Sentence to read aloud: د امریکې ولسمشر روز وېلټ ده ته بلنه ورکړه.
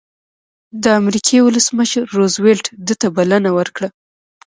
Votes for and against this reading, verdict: 2, 0, accepted